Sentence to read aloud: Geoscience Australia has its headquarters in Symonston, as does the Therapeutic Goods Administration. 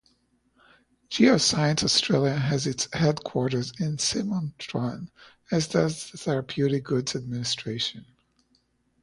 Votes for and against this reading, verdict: 2, 0, accepted